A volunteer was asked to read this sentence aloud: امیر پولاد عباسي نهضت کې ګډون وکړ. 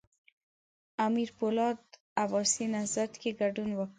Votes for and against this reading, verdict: 2, 0, accepted